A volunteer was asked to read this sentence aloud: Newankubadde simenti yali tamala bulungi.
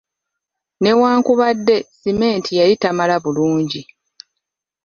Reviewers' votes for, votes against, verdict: 1, 2, rejected